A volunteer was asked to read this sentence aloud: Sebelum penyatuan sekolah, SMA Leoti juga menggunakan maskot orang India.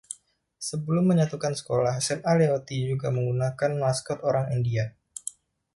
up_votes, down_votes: 1, 2